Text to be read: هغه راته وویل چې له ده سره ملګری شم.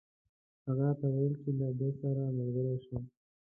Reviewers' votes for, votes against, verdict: 0, 2, rejected